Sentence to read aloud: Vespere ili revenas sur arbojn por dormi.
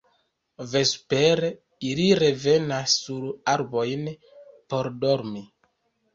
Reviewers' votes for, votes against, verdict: 1, 2, rejected